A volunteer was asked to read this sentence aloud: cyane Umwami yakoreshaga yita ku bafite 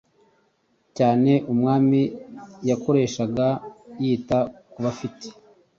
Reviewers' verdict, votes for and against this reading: accepted, 2, 0